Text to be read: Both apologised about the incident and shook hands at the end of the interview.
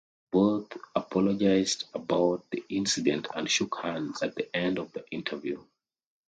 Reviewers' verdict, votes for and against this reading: accepted, 2, 0